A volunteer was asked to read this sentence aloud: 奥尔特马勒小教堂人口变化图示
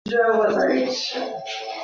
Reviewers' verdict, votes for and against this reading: rejected, 1, 2